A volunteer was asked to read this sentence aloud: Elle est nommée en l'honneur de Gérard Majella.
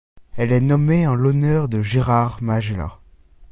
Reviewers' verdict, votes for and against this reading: accepted, 2, 1